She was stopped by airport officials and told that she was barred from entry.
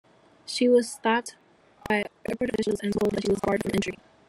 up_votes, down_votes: 1, 2